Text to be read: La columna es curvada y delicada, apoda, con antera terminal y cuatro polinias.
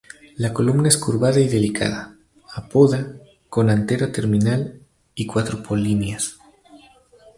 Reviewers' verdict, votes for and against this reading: rejected, 0, 2